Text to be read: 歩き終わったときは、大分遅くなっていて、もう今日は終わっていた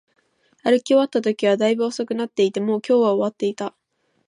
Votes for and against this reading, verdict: 2, 0, accepted